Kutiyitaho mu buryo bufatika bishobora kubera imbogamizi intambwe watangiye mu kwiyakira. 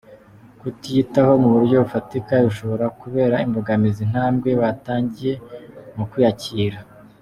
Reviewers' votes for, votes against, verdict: 2, 0, accepted